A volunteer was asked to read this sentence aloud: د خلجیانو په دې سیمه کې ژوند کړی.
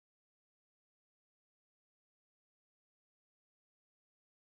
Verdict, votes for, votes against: accepted, 2, 0